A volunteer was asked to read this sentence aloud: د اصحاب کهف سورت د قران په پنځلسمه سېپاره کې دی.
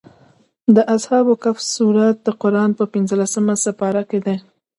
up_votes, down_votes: 0, 2